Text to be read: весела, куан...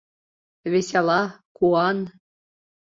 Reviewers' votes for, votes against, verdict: 2, 0, accepted